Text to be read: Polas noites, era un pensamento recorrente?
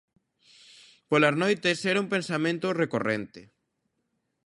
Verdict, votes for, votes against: accepted, 2, 0